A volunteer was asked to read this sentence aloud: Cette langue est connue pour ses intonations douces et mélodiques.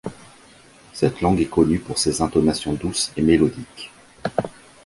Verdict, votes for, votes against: accepted, 2, 1